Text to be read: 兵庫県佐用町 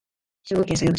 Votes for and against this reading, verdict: 2, 0, accepted